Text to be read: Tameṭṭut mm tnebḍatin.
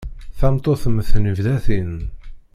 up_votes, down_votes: 0, 2